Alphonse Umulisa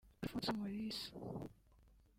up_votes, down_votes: 1, 2